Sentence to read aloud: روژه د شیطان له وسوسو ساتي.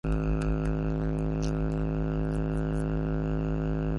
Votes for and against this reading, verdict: 0, 2, rejected